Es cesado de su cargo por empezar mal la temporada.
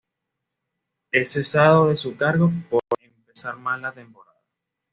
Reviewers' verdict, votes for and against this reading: rejected, 0, 2